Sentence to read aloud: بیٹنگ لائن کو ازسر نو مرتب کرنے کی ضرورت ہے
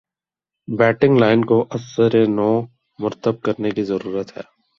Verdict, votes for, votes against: accepted, 2, 0